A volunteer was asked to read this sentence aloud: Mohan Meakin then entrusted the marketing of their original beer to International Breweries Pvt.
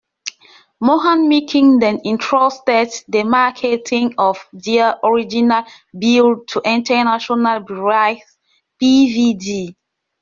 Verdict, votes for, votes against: rejected, 0, 2